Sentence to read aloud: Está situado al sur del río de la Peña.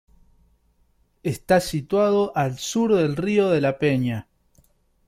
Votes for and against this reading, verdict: 2, 0, accepted